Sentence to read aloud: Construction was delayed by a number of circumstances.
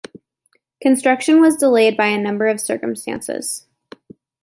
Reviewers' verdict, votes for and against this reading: accepted, 2, 0